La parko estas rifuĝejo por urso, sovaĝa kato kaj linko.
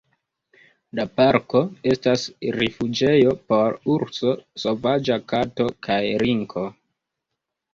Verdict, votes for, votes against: rejected, 1, 2